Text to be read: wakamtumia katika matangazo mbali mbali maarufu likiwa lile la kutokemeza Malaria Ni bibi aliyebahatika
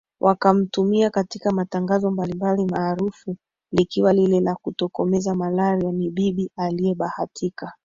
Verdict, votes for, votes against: rejected, 2, 4